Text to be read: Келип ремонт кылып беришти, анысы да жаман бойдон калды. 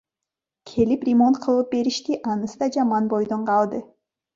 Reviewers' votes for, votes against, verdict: 2, 0, accepted